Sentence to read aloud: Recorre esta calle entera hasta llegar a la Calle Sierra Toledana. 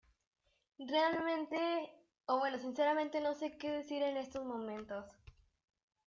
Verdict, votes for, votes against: rejected, 0, 2